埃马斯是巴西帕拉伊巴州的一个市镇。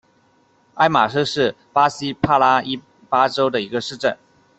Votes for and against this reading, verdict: 1, 2, rejected